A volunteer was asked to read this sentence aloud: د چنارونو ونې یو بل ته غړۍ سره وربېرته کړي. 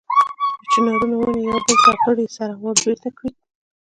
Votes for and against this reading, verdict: 1, 2, rejected